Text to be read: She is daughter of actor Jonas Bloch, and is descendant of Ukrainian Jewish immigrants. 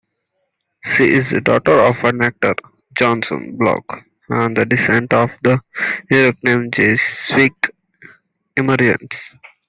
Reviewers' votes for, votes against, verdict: 1, 2, rejected